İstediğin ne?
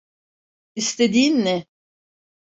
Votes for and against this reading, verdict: 2, 0, accepted